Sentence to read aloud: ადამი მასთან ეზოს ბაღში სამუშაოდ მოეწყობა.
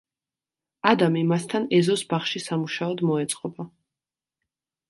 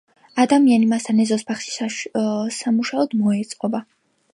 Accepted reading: first